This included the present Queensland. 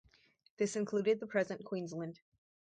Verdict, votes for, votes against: accepted, 2, 0